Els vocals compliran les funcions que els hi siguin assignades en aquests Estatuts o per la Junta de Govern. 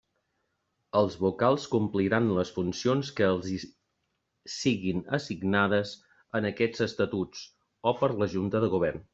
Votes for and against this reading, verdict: 1, 2, rejected